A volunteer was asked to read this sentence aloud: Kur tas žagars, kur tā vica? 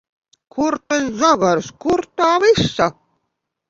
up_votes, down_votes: 0, 2